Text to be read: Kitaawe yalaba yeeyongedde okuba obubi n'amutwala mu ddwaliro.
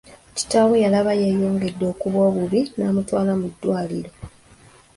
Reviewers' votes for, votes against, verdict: 2, 1, accepted